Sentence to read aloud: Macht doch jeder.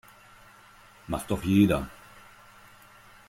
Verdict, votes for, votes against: accepted, 2, 0